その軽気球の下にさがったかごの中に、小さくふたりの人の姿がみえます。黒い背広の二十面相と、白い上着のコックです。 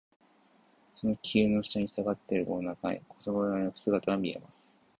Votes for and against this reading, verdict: 0, 2, rejected